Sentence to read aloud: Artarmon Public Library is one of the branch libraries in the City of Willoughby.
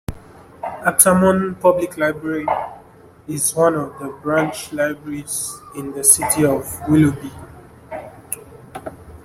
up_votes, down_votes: 0, 2